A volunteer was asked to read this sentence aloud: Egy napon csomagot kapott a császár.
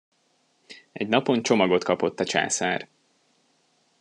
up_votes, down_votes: 2, 0